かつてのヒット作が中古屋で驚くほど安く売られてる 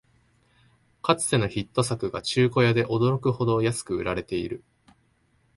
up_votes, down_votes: 0, 2